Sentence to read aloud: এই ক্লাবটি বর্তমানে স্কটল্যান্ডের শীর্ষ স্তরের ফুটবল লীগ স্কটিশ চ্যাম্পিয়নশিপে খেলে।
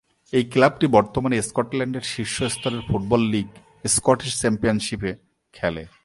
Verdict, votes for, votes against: accepted, 2, 0